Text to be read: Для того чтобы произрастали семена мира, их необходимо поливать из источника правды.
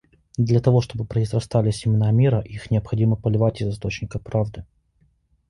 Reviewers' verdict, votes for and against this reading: accepted, 2, 0